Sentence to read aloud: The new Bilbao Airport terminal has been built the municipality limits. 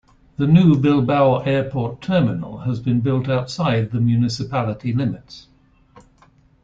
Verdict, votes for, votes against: rejected, 0, 2